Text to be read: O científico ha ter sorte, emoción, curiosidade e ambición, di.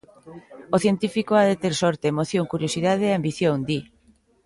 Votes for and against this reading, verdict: 0, 3, rejected